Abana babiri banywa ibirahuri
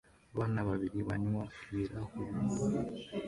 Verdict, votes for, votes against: accepted, 2, 1